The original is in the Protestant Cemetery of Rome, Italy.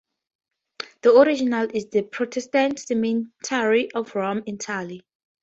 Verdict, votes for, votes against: rejected, 0, 4